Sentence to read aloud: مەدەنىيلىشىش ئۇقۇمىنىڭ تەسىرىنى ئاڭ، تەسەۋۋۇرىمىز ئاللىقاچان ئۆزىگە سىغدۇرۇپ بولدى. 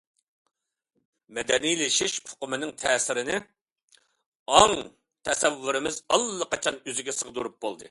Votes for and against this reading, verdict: 2, 0, accepted